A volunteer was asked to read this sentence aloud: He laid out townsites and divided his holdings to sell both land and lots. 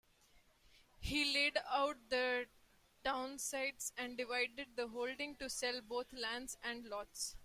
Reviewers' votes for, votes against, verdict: 0, 2, rejected